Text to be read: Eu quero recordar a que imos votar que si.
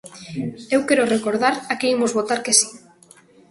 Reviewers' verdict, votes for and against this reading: accepted, 3, 0